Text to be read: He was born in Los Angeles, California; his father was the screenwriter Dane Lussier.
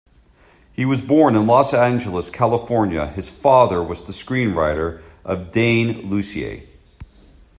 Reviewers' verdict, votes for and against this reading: rejected, 1, 2